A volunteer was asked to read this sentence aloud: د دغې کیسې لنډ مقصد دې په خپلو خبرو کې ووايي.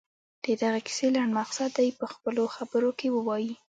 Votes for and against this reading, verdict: 2, 1, accepted